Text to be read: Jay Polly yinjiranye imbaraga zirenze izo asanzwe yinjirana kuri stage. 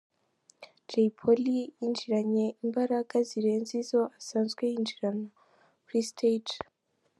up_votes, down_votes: 2, 0